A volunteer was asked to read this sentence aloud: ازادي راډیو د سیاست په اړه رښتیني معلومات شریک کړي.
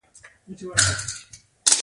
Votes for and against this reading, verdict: 2, 0, accepted